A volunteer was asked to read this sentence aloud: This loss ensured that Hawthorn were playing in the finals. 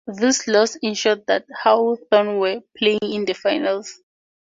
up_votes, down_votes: 2, 0